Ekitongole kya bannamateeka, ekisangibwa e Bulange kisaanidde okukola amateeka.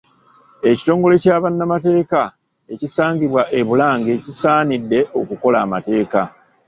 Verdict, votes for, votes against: rejected, 1, 2